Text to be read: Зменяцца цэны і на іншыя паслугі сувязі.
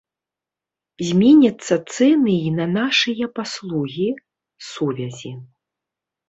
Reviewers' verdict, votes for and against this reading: rejected, 1, 2